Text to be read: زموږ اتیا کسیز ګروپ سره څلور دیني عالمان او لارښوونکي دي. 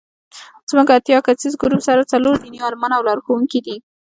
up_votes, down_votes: 2, 0